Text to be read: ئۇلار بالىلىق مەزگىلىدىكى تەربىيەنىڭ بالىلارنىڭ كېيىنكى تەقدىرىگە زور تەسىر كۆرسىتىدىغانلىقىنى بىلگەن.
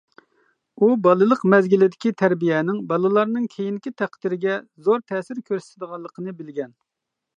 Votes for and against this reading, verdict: 0, 2, rejected